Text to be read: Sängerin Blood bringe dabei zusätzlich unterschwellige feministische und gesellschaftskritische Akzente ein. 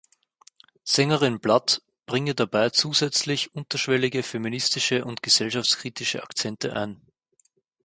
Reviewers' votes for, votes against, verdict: 4, 0, accepted